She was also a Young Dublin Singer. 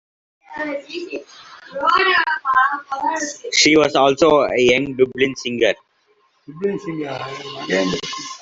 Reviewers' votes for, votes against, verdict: 0, 2, rejected